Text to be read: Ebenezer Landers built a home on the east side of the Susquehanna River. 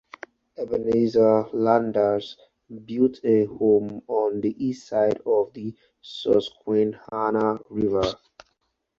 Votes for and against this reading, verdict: 4, 0, accepted